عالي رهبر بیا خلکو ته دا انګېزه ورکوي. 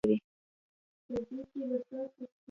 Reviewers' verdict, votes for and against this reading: rejected, 0, 2